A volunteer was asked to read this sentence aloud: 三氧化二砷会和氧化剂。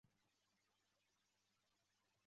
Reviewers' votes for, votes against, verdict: 5, 4, accepted